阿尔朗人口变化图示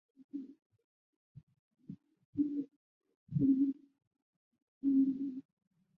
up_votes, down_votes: 0, 2